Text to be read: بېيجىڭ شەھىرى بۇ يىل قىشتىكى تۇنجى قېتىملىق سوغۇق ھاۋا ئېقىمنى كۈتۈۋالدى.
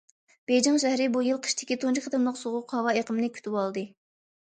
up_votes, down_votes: 2, 0